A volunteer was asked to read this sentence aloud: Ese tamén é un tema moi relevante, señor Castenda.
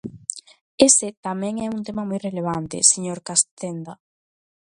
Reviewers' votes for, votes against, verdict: 1, 2, rejected